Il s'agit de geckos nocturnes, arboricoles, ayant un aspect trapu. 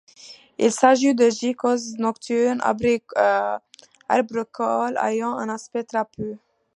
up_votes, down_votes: 0, 2